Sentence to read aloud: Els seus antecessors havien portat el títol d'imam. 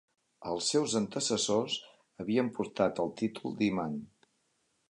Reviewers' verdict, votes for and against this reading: accepted, 2, 0